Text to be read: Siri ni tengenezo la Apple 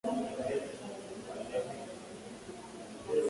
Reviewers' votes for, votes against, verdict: 0, 3, rejected